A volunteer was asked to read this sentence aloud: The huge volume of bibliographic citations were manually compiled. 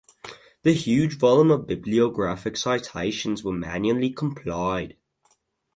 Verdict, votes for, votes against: rejected, 2, 2